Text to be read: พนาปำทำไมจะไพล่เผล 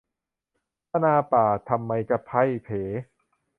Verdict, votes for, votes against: rejected, 0, 2